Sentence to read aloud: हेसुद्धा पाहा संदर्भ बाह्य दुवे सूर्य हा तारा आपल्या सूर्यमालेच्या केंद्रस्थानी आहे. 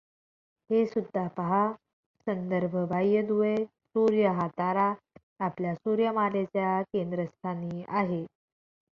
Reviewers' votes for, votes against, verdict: 2, 0, accepted